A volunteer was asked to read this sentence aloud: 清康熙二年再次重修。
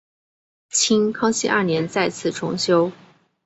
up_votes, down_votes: 4, 0